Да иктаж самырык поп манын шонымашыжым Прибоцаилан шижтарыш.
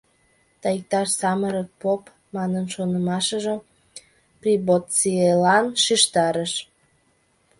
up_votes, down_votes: 1, 2